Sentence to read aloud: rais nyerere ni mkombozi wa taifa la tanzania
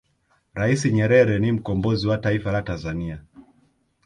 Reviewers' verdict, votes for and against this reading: rejected, 1, 2